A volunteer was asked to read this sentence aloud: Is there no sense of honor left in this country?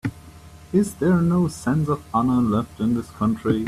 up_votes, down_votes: 0, 2